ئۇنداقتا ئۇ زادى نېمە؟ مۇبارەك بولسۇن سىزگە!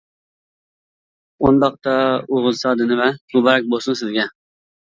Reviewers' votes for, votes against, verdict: 1, 2, rejected